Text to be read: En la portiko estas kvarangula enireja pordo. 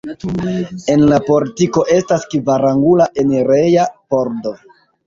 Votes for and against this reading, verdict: 2, 0, accepted